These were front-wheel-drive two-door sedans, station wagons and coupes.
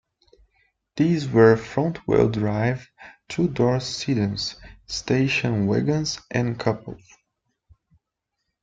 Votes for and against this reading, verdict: 0, 2, rejected